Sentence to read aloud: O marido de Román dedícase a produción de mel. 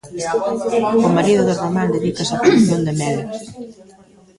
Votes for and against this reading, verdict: 1, 2, rejected